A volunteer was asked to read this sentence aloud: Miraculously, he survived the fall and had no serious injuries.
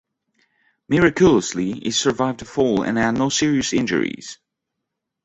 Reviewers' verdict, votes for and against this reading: rejected, 1, 2